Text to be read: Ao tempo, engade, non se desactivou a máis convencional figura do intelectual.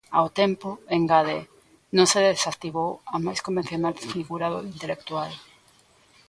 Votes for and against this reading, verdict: 2, 0, accepted